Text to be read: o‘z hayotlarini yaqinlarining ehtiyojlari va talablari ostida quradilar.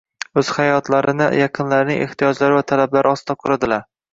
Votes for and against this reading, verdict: 1, 2, rejected